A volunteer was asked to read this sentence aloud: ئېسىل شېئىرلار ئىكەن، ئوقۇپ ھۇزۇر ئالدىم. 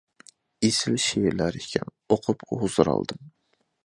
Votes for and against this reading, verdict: 2, 0, accepted